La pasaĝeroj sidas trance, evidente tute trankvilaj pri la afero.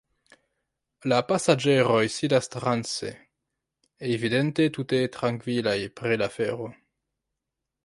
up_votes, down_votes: 2, 3